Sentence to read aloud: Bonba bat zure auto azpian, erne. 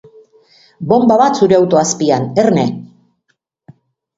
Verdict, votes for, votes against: accepted, 2, 0